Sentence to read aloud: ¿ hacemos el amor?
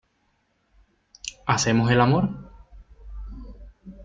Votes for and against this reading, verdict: 2, 0, accepted